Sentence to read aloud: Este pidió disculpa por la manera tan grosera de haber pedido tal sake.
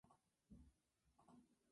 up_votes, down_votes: 0, 2